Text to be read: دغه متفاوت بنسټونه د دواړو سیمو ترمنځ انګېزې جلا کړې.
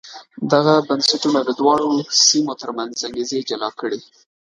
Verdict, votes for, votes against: rejected, 1, 2